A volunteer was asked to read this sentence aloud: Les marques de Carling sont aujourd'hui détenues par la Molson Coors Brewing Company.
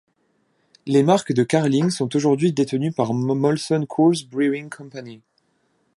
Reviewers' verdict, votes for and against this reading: rejected, 1, 2